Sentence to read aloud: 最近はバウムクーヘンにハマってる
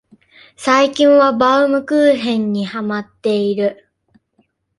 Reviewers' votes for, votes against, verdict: 0, 2, rejected